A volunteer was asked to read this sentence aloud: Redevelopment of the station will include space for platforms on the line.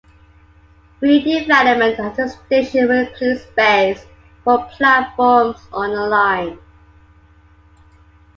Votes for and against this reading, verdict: 1, 2, rejected